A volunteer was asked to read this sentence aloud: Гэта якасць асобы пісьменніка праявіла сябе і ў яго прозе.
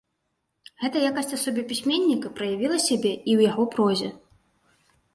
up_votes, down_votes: 2, 0